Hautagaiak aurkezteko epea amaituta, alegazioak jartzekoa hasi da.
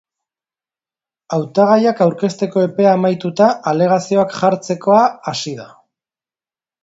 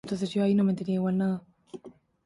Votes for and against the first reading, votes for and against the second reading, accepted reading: 2, 0, 0, 2, first